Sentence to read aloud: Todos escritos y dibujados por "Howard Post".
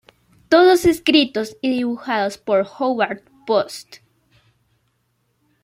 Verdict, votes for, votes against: accepted, 2, 0